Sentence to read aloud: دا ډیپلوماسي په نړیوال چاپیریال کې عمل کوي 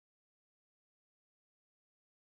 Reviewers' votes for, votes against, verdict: 1, 2, rejected